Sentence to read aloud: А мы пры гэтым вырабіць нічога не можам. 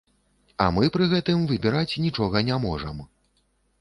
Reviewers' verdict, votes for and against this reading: rejected, 0, 2